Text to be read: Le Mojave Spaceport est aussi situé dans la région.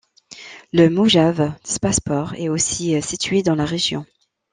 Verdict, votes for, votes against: rejected, 1, 2